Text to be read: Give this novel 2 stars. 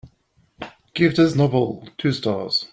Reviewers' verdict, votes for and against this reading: rejected, 0, 2